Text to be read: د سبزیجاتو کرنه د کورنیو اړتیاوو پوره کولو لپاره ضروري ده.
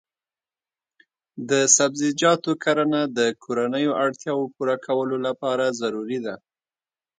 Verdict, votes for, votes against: accepted, 2, 0